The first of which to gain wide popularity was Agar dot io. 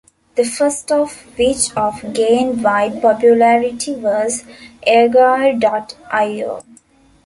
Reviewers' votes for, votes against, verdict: 0, 2, rejected